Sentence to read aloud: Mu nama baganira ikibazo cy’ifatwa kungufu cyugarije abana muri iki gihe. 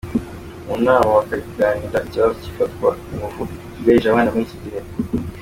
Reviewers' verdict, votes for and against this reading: rejected, 0, 2